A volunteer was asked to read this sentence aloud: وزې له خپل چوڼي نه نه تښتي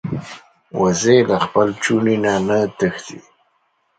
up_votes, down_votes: 2, 0